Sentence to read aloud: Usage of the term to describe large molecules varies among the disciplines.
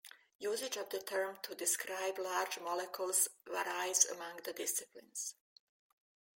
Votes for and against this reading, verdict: 1, 2, rejected